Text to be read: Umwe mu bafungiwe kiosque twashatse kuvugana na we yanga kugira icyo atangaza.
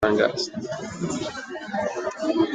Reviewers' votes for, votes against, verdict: 0, 2, rejected